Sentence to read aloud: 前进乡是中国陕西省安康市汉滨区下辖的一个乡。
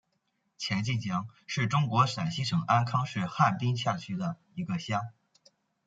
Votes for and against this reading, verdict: 0, 2, rejected